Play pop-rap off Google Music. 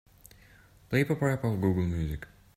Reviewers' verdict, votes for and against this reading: accepted, 3, 1